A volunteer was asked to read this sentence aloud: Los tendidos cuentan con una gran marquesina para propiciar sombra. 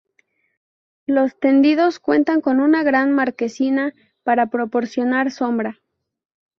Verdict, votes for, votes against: rejected, 0, 4